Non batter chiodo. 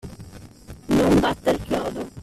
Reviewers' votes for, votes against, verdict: 2, 1, accepted